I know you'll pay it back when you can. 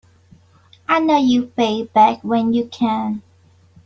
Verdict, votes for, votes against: accepted, 2, 0